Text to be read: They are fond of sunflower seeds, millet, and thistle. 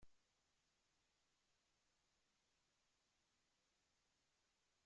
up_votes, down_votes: 0, 2